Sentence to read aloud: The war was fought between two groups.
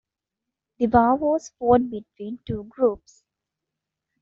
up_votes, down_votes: 0, 2